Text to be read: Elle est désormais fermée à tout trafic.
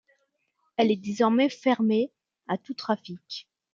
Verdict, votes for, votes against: accepted, 2, 0